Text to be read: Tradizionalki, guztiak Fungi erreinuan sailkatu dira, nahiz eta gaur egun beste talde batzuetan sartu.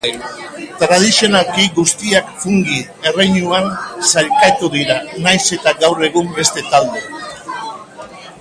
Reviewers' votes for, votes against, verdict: 1, 3, rejected